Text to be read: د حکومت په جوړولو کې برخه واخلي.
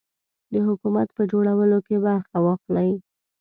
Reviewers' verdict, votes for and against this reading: accepted, 2, 0